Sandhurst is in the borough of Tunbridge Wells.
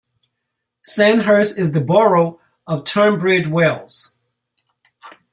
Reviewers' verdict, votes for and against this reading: rejected, 0, 2